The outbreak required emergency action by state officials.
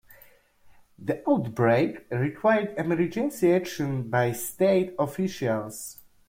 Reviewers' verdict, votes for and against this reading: accepted, 2, 0